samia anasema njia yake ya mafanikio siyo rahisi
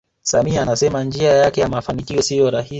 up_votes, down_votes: 0, 2